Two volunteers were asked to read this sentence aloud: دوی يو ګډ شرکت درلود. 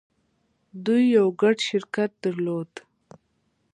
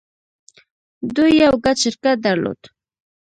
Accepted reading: first